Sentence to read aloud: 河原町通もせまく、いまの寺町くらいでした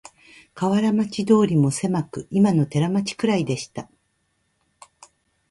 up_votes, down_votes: 2, 1